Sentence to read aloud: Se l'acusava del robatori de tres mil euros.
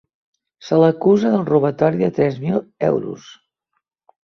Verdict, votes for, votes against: rejected, 0, 3